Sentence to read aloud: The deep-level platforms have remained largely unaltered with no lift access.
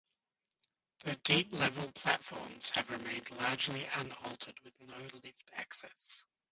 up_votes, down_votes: 1, 2